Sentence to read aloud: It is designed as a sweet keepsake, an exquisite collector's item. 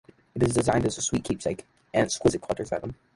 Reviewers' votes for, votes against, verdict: 2, 0, accepted